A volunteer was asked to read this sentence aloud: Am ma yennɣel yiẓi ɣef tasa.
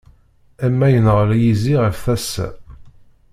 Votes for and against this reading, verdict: 1, 2, rejected